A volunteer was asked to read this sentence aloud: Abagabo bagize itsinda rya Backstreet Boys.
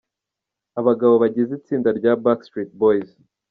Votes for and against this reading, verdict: 2, 0, accepted